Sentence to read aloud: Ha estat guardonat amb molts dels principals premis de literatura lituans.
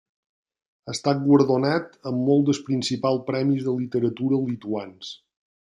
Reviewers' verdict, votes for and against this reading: rejected, 0, 2